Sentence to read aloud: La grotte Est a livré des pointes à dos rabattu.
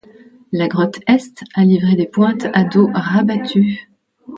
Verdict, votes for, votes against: rejected, 1, 2